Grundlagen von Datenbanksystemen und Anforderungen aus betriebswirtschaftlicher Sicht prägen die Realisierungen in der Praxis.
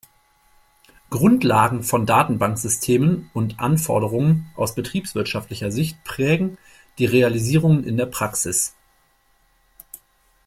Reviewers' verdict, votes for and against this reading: accepted, 2, 0